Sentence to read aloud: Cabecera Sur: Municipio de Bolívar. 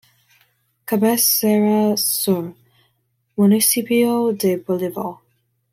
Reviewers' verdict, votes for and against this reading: rejected, 0, 2